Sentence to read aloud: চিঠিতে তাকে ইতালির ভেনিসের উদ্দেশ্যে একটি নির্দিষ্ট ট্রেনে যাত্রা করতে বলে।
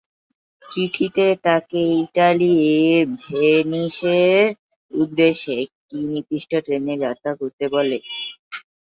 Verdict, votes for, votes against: rejected, 0, 3